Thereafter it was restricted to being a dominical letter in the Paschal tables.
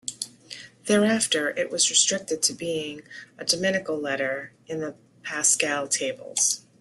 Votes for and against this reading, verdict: 2, 0, accepted